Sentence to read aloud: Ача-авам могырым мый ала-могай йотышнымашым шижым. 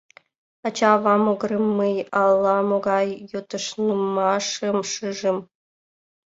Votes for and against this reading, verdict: 0, 2, rejected